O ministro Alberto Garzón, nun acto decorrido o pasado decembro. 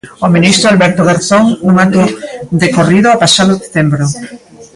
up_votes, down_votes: 1, 2